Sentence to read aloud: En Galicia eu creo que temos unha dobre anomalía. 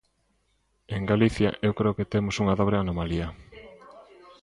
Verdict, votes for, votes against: rejected, 1, 2